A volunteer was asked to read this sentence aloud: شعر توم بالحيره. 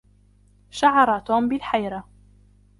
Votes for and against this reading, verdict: 2, 1, accepted